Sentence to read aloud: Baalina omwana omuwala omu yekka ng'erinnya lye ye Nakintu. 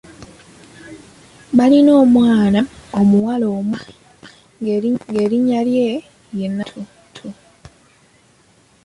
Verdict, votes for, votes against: rejected, 1, 2